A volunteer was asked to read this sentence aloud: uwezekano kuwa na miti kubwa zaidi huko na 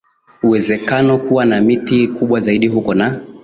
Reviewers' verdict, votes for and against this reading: accepted, 16, 2